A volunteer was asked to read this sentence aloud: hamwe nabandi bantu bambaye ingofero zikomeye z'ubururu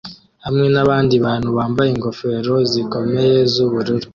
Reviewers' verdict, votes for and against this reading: accepted, 2, 0